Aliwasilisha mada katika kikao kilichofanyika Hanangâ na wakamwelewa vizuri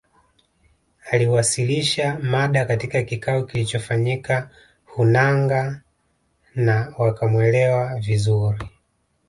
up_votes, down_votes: 2, 0